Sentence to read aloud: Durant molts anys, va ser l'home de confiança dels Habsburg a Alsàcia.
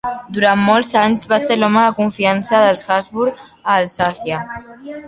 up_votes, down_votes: 2, 0